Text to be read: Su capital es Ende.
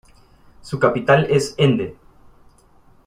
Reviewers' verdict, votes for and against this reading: accepted, 2, 0